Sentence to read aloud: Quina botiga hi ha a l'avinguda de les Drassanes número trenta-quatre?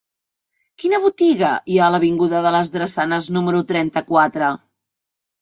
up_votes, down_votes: 3, 0